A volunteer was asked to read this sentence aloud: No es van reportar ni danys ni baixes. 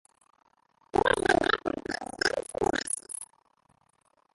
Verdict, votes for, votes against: rejected, 0, 2